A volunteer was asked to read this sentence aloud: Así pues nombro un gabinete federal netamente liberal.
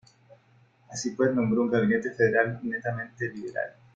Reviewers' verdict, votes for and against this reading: accepted, 2, 1